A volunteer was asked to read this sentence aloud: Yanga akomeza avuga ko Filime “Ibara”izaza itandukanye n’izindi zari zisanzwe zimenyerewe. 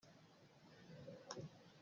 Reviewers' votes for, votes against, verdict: 0, 2, rejected